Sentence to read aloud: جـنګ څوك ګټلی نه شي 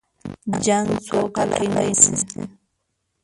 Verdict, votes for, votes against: rejected, 1, 2